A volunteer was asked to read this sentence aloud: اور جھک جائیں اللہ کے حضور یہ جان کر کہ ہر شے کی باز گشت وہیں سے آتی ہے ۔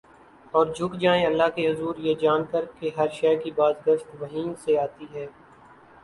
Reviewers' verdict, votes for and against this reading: accepted, 2, 1